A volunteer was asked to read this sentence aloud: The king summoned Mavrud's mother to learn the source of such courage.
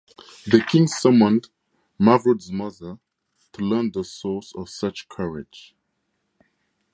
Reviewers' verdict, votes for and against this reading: rejected, 2, 2